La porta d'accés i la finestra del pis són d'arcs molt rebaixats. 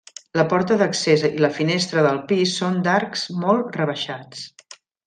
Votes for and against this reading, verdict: 3, 0, accepted